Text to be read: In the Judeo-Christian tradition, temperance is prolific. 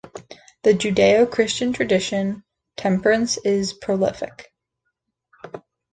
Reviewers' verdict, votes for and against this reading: rejected, 1, 2